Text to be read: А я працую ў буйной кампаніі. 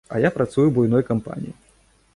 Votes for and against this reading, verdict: 2, 0, accepted